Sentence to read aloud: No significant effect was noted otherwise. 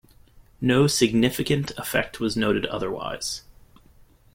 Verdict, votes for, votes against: accepted, 2, 0